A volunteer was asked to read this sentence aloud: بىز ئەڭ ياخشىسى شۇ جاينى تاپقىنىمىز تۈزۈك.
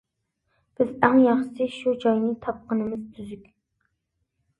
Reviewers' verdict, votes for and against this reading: accepted, 2, 0